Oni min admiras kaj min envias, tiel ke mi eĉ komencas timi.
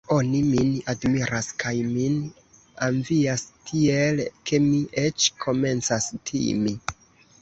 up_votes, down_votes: 0, 3